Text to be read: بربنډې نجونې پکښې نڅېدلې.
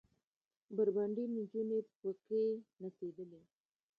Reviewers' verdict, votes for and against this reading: rejected, 1, 2